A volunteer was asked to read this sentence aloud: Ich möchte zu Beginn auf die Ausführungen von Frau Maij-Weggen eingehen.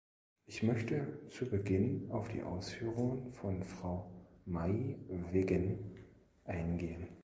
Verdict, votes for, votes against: rejected, 1, 2